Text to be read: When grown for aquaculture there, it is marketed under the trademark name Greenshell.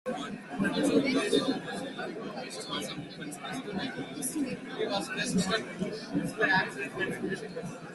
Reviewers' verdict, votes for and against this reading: rejected, 0, 2